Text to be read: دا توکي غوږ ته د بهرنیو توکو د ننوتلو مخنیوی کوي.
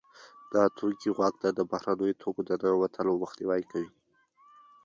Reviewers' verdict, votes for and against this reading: rejected, 0, 2